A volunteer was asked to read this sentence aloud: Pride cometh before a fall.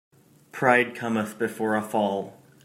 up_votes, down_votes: 2, 0